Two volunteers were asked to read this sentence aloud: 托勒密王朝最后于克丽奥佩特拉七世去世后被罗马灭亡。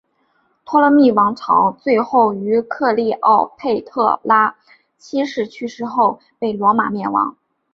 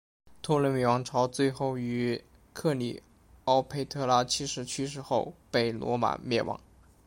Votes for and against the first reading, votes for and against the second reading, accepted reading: 3, 0, 0, 2, first